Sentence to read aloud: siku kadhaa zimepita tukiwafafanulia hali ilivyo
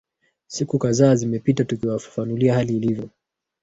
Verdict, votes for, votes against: rejected, 0, 2